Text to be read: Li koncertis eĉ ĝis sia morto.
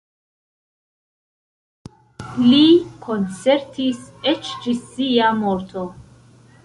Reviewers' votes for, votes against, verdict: 1, 2, rejected